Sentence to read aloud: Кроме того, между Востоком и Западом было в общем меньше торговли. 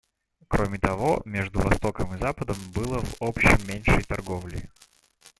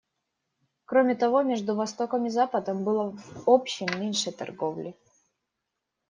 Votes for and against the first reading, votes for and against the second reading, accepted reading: 1, 2, 2, 0, second